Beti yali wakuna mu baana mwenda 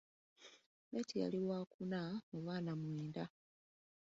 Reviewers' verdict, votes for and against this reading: accepted, 2, 1